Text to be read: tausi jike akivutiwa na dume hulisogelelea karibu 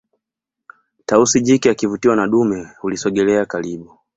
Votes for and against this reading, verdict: 2, 0, accepted